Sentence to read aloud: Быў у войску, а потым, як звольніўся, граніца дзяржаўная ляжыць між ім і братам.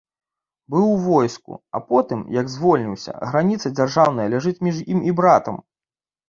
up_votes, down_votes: 2, 0